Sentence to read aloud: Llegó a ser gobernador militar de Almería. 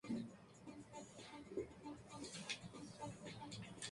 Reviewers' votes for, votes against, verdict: 0, 2, rejected